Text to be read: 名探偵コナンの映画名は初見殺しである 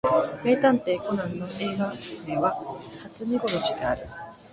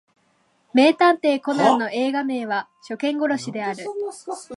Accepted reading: first